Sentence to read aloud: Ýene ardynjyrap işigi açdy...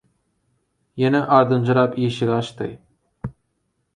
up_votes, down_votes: 4, 0